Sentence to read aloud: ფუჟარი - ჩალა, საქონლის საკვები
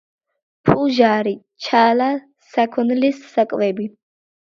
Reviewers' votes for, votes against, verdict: 2, 1, accepted